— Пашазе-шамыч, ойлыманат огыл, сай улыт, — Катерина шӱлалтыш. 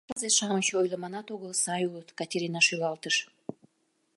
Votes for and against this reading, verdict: 0, 3, rejected